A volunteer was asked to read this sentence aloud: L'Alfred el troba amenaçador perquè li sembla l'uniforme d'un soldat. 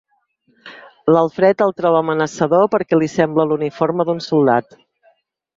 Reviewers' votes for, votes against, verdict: 6, 0, accepted